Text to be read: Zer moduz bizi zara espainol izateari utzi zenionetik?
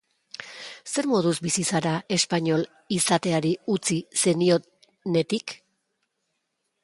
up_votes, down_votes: 0, 2